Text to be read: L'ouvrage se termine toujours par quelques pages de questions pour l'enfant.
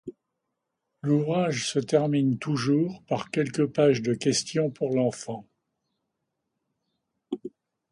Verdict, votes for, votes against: accepted, 2, 0